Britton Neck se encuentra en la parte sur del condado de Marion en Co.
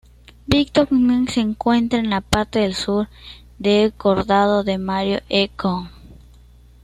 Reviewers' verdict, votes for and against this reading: rejected, 1, 2